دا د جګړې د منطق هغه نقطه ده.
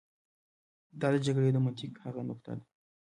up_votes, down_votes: 1, 2